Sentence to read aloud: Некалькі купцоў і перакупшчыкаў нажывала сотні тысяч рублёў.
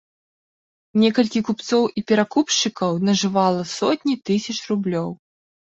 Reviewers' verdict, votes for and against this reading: accepted, 2, 0